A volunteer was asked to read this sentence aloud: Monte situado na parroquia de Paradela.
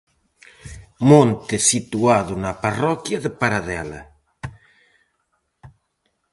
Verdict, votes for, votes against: accepted, 4, 0